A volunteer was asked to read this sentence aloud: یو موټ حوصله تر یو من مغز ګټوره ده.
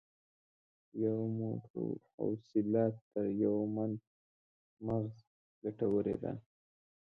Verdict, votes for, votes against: accepted, 2, 0